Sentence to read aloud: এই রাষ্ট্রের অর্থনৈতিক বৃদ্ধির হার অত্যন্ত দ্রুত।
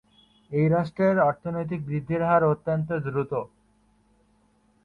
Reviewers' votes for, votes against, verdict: 6, 0, accepted